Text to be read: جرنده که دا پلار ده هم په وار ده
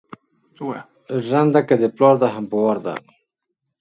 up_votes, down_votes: 2, 0